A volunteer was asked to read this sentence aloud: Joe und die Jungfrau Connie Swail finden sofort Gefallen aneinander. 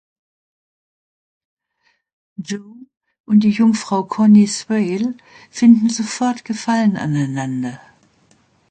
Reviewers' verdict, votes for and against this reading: rejected, 0, 2